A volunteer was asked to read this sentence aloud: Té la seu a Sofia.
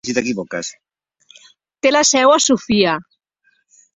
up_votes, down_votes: 0, 2